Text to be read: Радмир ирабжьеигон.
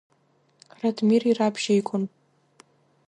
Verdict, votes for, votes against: accepted, 2, 0